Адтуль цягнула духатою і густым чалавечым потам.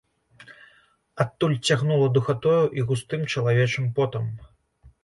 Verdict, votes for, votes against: accepted, 2, 0